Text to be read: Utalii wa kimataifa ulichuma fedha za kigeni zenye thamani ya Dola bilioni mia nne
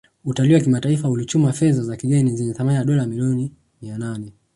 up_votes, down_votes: 2, 0